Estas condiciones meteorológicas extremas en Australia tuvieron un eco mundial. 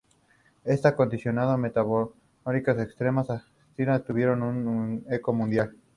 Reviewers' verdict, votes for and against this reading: rejected, 0, 2